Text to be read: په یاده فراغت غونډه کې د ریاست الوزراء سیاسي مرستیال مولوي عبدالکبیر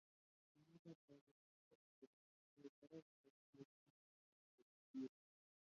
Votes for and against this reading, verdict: 0, 2, rejected